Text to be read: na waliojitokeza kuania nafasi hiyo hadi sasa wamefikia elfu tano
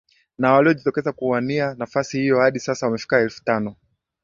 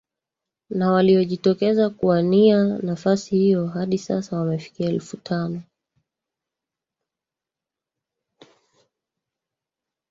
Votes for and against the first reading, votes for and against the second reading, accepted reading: 2, 0, 0, 2, first